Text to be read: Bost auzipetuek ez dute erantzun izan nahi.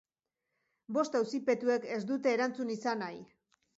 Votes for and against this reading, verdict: 4, 0, accepted